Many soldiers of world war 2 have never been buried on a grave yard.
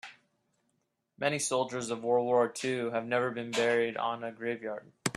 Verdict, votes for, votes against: rejected, 0, 2